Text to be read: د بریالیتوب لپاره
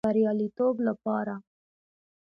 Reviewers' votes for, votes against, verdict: 1, 2, rejected